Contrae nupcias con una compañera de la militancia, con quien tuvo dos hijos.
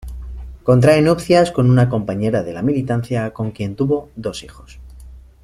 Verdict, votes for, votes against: accepted, 3, 0